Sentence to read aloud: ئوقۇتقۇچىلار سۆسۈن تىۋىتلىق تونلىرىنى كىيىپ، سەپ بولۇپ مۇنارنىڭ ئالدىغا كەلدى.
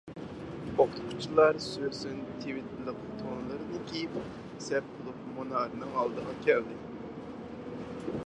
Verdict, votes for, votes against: rejected, 2, 4